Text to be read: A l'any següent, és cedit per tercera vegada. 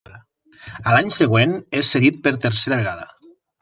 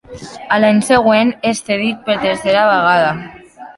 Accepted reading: first